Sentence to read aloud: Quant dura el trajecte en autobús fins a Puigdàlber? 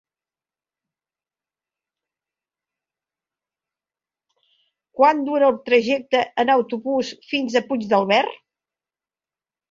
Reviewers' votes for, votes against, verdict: 0, 2, rejected